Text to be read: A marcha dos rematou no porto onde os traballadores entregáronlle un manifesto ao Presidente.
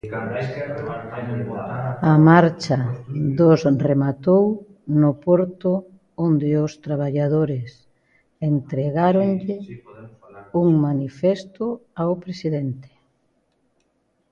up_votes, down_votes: 0, 2